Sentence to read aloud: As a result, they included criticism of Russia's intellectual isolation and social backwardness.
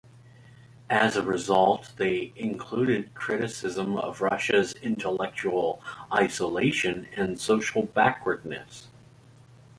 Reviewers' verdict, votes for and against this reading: accepted, 2, 0